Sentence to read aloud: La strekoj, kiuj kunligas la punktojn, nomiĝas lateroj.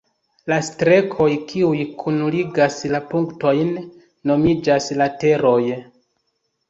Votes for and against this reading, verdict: 2, 0, accepted